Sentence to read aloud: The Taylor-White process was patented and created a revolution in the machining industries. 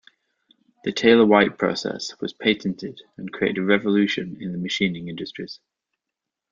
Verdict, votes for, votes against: rejected, 1, 2